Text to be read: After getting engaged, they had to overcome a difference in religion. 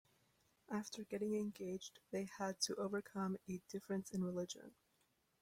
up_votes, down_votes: 2, 0